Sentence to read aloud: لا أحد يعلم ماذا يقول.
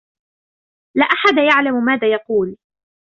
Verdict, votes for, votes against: accepted, 2, 0